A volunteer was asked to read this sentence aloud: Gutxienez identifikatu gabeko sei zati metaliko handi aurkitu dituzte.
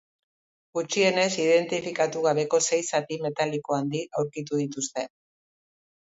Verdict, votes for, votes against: accepted, 2, 0